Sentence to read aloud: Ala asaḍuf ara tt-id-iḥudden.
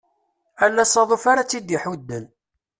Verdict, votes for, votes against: accepted, 2, 0